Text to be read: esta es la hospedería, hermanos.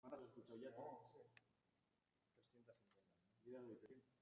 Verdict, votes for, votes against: rejected, 0, 2